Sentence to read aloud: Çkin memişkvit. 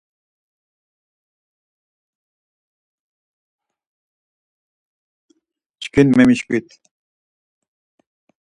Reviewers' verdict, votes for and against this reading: accepted, 4, 0